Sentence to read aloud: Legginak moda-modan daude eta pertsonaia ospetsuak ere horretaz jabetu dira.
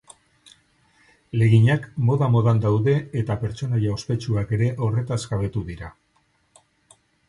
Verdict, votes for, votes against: accepted, 4, 0